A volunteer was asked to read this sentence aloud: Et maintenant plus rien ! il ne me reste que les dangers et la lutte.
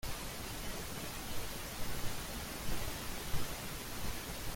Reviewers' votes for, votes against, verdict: 0, 2, rejected